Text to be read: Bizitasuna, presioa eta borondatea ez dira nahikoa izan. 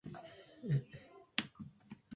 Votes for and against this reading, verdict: 0, 2, rejected